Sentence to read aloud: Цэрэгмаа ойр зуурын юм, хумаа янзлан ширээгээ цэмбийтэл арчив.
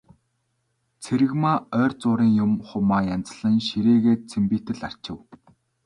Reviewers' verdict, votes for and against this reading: accepted, 2, 0